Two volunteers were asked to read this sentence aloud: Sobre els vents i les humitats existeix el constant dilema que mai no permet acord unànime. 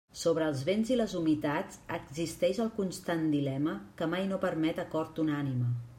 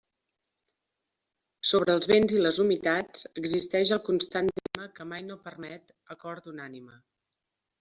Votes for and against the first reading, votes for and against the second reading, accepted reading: 2, 0, 0, 2, first